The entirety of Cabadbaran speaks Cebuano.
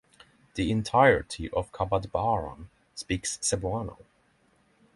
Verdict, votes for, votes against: accepted, 6, 0